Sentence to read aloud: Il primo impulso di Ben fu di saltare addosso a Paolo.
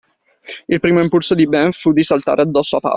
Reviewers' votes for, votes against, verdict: 0, 2, rejected